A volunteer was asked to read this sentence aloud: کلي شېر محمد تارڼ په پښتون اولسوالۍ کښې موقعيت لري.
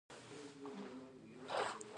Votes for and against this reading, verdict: 1, 2, rejected